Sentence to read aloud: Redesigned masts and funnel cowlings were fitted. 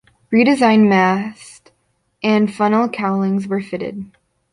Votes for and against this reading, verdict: 2, 1, accepted